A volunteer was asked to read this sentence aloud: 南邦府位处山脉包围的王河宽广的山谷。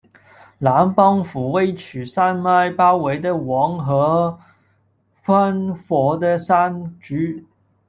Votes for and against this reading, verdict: 1, 2, rejected